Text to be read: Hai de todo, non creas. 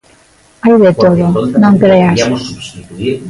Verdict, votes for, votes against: rejected, 0, 2